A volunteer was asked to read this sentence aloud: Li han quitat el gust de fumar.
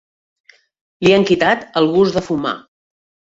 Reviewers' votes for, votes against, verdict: 3, 0, accepted